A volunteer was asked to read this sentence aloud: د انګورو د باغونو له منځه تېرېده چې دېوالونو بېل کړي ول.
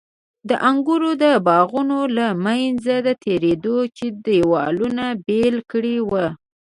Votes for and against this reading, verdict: 1, 2, rejected